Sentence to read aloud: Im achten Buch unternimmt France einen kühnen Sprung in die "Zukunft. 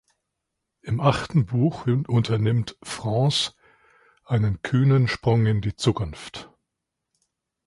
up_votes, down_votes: 1, 2